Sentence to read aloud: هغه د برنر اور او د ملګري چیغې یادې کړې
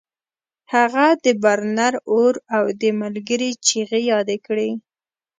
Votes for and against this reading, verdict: 2, 0, accepted